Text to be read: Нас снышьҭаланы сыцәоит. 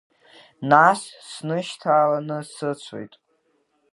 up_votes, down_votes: 2, 1